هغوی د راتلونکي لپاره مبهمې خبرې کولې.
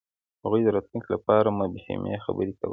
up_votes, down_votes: 2, 0